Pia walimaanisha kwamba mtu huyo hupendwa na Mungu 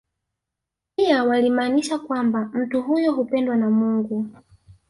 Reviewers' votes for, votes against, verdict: 2, 0, accepted